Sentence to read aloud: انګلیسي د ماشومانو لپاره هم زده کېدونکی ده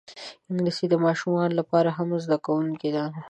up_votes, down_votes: 2, 1